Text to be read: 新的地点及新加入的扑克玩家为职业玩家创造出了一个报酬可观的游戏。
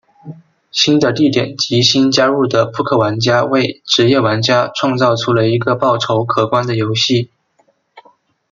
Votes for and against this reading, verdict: 2, 0, accepted